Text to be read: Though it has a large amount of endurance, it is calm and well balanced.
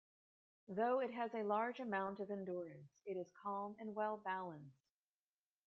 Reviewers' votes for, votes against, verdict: 2, 1, accepted